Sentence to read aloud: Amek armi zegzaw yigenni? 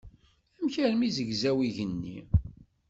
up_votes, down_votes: 2, 0